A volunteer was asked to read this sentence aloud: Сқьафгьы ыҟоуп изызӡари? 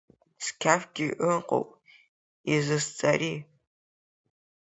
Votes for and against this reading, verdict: 4, 2, accepted